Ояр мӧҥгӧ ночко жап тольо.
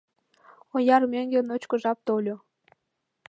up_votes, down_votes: 2, 0